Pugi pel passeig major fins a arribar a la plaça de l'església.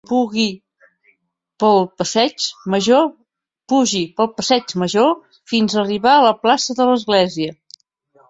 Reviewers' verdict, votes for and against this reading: rejected, 0, 2